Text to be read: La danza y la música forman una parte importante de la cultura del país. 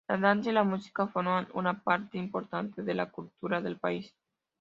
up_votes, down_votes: 2, 0